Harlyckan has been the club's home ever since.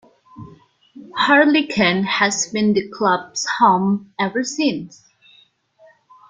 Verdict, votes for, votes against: accepted, 2, 0